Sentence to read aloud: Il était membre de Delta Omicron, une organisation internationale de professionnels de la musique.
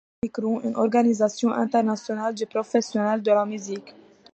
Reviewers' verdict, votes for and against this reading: rejected, 0, 2